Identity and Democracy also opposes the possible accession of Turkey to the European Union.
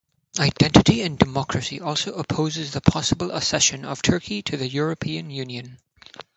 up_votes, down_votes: 2, 0